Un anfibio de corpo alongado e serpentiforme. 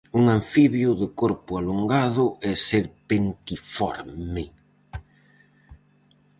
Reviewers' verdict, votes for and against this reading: rejected, 2, 2